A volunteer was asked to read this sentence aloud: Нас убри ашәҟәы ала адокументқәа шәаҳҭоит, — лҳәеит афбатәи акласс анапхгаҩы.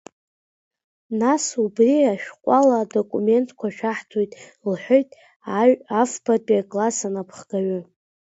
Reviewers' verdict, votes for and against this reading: rejected, 0, 2